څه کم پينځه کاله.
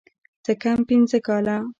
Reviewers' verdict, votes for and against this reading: accepted, 3, 0